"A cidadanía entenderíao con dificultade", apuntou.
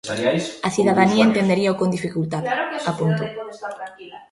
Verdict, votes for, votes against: rejected, 0, 2